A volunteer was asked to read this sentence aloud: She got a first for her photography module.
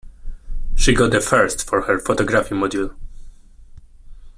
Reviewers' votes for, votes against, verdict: 1, 2, rejected